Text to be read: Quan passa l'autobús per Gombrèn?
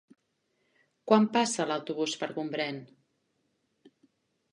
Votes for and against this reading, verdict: 3, 0, accepted